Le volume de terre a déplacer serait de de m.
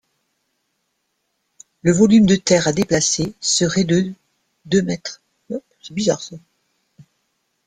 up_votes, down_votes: 1, 2